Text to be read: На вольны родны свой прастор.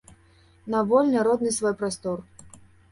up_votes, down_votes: 2, 0